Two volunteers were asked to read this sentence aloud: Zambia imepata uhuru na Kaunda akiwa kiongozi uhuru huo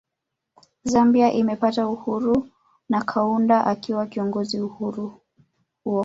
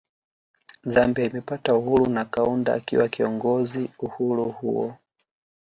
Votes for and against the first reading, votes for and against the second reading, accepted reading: 1, 2, 2, 1, second